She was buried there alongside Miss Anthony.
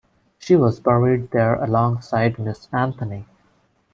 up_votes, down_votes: 1, 2